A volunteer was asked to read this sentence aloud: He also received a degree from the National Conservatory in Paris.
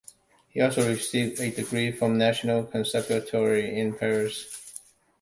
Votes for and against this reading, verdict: 0, 2, rejected